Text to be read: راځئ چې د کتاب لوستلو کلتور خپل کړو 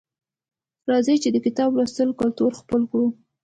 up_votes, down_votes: 2, 0